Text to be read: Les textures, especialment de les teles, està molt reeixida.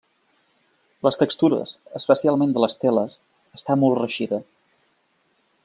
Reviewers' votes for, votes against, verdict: 2, 0, accepted